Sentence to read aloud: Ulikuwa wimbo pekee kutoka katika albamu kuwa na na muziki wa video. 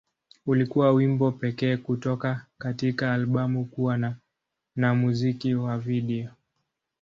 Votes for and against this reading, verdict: 7, 8, rejected